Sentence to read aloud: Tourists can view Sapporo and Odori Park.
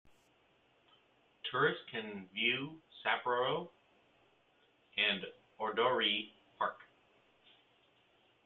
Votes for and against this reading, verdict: 0, 2, rejected